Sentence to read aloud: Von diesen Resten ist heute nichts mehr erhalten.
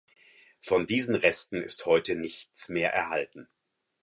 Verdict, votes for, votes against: accepted, 4, 0